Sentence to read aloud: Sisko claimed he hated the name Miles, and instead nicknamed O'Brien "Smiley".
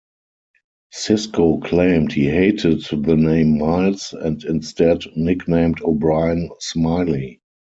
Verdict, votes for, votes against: accepted, 4, 0